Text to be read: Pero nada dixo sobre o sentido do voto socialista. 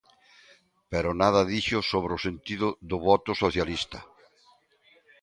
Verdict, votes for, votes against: accepted, 2, 0